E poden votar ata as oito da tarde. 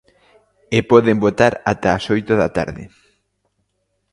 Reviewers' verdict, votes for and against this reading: accepted, 2, 0